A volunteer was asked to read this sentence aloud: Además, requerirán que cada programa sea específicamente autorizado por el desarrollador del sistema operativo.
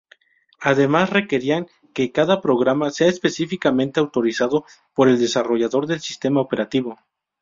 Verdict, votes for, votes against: rejected, 0, 2